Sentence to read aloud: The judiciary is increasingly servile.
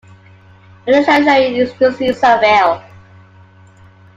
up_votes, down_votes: 0, 2